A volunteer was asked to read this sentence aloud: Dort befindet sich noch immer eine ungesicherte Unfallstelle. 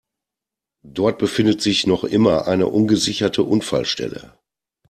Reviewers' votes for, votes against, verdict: 2, 0, accepted